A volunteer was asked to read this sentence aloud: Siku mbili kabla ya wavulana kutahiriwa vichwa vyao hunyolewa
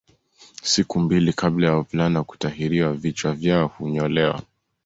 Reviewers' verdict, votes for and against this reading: accepted, 2, 1